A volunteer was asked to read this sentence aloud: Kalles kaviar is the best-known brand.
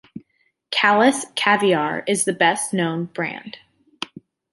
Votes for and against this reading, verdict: 2, 0, accepted